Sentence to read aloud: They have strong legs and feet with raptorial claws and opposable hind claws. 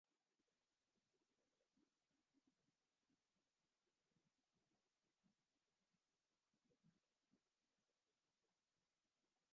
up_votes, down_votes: 0, 2